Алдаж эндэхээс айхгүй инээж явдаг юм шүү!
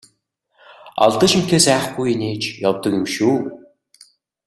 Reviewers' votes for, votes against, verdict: 2, 0, accepted